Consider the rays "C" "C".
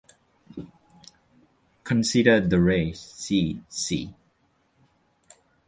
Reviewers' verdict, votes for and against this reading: accepted, 2, 0